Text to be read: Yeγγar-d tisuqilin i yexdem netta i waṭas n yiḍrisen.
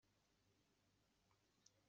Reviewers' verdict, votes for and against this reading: rejected, 0, 2